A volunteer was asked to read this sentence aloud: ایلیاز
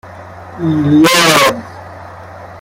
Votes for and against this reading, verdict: 0, 2, rejected